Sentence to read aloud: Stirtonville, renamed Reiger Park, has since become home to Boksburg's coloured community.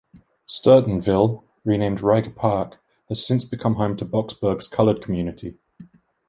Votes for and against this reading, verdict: 2, 1, accepted